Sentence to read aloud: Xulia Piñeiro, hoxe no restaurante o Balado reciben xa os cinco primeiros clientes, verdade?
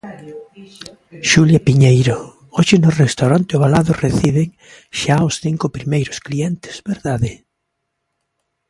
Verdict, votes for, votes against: rejected, 1, 2